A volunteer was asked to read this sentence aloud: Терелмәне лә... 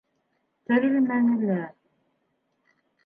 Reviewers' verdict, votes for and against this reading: accepted, 2, 0